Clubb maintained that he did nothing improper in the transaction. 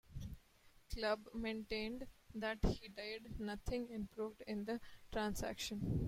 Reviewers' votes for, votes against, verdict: 2, 1, accepted